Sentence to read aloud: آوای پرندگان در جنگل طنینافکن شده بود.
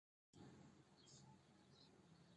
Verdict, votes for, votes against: rejected, 0, 2